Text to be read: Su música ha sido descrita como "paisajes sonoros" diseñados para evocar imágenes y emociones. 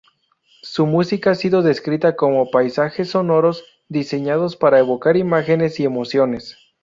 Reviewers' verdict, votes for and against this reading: accepted, 4, 0